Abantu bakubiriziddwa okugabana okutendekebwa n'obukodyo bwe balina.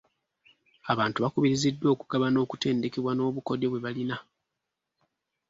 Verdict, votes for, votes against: accepted, 2, 0